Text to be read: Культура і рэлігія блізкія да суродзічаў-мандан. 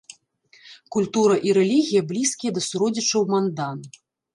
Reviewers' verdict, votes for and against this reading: accepted, 2, 0